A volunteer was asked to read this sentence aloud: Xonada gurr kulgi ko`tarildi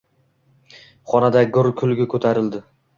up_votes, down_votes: 2, 0